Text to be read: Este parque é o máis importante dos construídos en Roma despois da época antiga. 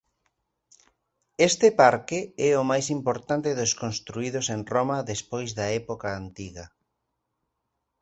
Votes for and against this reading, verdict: 2, 0, accepted